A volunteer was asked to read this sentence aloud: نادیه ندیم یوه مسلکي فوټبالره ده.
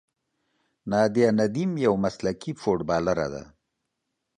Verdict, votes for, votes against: accepted, 2, 0